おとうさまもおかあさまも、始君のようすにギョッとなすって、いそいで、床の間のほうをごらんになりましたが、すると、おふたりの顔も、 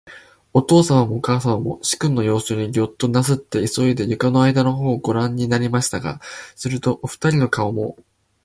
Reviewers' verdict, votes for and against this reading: accepted, 2, 0